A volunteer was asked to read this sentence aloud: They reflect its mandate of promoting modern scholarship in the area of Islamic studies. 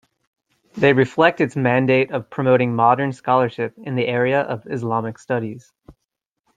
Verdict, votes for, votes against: accepted, 2, 0